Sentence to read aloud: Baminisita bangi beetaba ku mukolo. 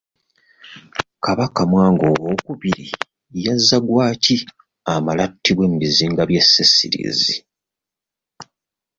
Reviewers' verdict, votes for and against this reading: rejected, 0, 2